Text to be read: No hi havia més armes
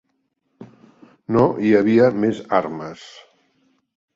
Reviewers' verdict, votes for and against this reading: accepted, 3, 0